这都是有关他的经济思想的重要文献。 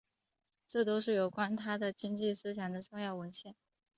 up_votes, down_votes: 2, 0